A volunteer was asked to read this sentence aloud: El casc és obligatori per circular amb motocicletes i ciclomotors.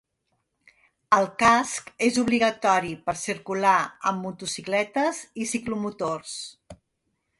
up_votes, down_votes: 2, 0